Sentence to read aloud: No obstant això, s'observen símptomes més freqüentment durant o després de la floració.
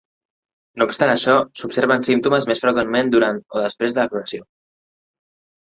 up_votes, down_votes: 2, 1